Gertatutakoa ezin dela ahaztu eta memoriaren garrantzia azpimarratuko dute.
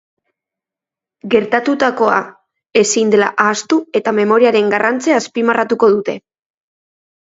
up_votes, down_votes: 4, 0